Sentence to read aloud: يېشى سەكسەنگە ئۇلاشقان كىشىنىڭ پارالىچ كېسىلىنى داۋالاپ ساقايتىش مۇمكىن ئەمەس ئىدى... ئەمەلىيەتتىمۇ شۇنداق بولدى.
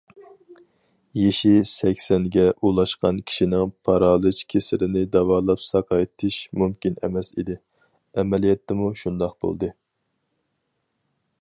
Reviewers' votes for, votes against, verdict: 4, 0, accepted